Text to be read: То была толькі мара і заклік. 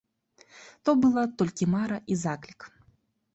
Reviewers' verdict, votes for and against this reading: accepted, 2, 0